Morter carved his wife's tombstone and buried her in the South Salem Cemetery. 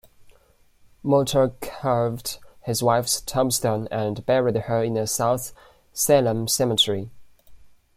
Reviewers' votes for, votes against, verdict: 2, 0, accepted